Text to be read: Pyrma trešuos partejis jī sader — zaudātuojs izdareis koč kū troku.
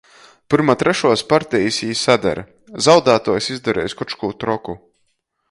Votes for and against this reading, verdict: 2, 1, accepted